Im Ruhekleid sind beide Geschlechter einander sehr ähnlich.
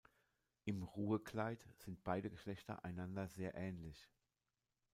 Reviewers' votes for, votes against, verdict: 2, 0, accepted